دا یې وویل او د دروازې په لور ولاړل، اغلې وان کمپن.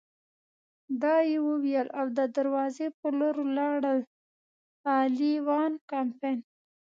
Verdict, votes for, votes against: rejected, 1, 2